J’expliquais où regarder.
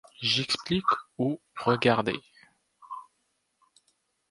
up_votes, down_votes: 0, 2